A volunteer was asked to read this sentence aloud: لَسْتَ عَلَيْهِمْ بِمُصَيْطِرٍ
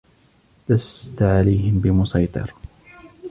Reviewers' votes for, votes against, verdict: 3, 0, accepted